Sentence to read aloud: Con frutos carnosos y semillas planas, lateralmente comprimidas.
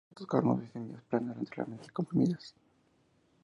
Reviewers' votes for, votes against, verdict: 0, 2, rejected